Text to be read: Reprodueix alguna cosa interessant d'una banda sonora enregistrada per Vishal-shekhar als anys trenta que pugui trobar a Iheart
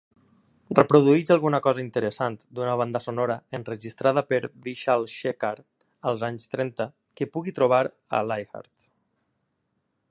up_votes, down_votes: 1, 2